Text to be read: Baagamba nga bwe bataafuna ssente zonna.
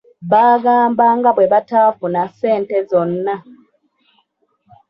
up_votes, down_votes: 2, 0